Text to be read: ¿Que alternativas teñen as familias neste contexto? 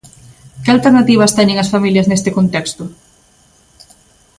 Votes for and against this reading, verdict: 2, 0, accepted